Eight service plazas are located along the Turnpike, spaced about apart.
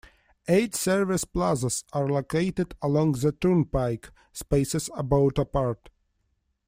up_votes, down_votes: 0, 2